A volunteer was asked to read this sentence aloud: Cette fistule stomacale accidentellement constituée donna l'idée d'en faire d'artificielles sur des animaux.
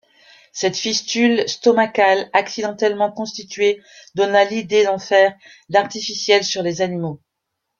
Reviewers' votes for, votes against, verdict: 1, 2, rejected